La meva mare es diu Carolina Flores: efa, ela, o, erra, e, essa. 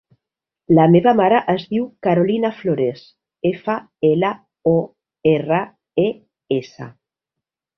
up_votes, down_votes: 4, 0